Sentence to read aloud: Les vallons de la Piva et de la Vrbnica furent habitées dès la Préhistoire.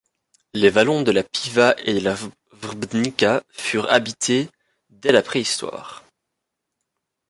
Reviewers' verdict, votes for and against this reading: rejected, 1, 2